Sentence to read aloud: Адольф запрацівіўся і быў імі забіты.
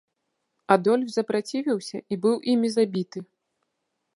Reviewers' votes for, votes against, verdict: 2, 0, accepted